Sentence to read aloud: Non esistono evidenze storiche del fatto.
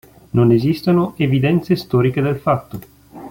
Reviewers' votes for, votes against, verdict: 2, 0, accepted